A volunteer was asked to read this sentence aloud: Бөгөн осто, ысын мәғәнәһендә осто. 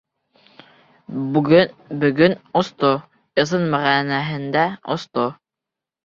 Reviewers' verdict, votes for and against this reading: rejected, 0, 2